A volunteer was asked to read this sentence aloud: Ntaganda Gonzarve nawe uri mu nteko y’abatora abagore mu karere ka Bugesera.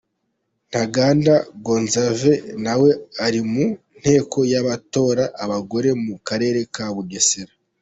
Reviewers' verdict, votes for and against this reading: accepted, 2, 1